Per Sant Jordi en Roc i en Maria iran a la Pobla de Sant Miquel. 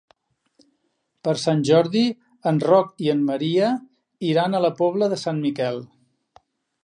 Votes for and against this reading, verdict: 3, 0, accepted